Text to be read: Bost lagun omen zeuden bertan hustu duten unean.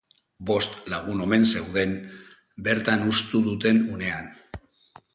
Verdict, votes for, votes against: accepted, 4, 2